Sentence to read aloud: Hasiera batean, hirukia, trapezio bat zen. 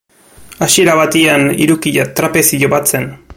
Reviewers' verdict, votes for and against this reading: rejected, 1, 2